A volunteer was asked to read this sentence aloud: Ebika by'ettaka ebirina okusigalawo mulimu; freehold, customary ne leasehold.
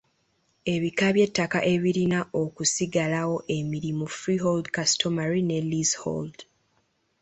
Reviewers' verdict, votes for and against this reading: rejected, 1, 3